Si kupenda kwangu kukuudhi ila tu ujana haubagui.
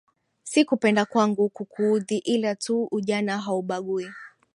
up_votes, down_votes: 3, 0